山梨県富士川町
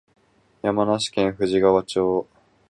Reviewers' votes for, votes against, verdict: 4, 2, accepted